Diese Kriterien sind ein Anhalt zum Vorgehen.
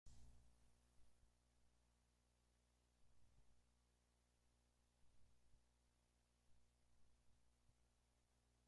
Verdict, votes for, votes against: rejected, 0, 2